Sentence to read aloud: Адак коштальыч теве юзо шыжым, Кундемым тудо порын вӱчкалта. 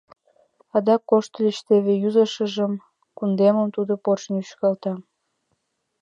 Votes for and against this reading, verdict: 0, 2, rejected